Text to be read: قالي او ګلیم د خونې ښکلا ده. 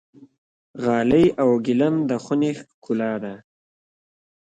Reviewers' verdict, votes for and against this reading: accepted, 2, 1